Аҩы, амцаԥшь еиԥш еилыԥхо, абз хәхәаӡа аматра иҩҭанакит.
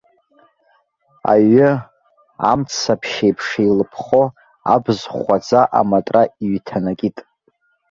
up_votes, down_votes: 2, 0